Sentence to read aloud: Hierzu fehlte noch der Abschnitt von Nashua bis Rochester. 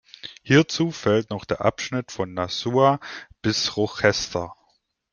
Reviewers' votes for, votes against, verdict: 0, 2, rejected